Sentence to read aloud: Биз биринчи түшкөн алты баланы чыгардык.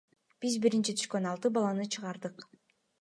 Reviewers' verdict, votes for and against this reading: accepted, 2, 0